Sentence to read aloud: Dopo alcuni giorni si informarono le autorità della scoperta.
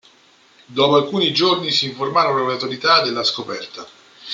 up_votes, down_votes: 1, 2